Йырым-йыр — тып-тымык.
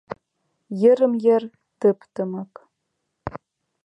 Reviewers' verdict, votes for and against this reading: accepted, 2, 0